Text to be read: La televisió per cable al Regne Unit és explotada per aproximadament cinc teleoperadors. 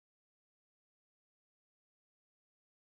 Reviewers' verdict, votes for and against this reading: rejected, 0, 4